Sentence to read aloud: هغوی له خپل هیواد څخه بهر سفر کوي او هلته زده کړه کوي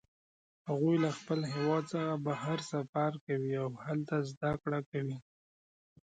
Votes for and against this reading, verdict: 2, 0, accepted